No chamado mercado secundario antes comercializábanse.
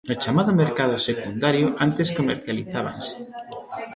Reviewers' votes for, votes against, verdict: 2, 0, accepted